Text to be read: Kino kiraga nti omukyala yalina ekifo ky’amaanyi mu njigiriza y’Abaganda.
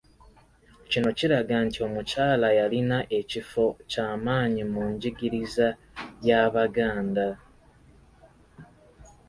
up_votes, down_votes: 2, 0